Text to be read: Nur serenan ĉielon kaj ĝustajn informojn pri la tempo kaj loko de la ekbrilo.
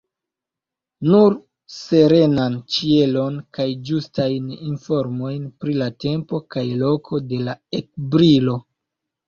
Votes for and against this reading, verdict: 3, 1, accepted